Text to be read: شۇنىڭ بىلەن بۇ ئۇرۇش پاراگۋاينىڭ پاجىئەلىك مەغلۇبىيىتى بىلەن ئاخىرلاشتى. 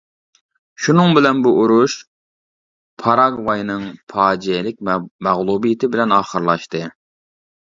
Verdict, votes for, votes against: rejected, 0, 2